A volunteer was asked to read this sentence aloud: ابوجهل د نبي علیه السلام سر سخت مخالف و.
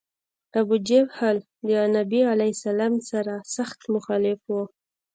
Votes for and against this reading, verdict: 2, 0, accepted